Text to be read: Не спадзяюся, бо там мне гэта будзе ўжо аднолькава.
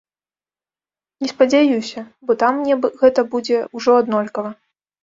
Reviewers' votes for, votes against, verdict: 1, 2, rejected